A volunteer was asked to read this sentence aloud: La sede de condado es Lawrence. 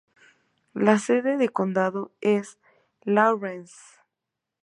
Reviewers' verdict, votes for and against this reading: accepted, 2, 0